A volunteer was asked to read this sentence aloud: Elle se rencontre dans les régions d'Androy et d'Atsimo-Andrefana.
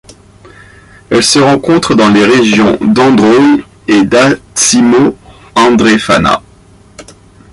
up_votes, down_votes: 1, 2